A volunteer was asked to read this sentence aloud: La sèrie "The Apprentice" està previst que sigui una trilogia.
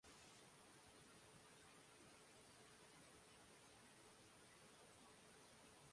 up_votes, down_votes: 1, 3